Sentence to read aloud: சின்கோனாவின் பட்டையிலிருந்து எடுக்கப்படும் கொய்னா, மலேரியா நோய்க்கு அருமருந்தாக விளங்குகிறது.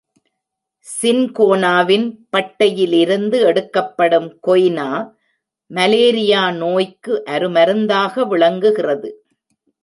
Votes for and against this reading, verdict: 3, 0, accepted